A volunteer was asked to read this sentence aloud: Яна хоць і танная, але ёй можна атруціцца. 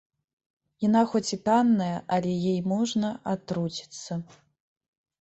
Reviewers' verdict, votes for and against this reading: rejected, 1, 2